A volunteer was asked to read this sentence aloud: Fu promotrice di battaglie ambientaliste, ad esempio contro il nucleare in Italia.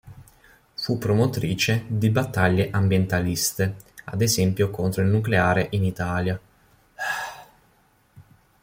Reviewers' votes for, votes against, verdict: 2, 0, accepted